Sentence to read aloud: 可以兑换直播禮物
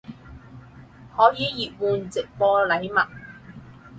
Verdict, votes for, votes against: rejected, 0, 6